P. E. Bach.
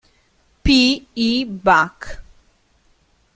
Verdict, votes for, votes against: rejected, 0, 2